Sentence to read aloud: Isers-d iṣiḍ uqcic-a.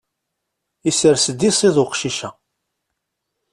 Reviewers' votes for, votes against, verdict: 2, 0, accepted